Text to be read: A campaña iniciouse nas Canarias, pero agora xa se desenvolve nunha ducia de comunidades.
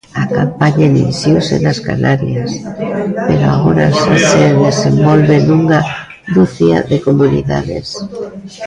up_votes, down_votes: 0, 2